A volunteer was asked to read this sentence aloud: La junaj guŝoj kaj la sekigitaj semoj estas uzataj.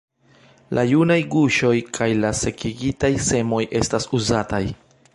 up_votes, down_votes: 2, 1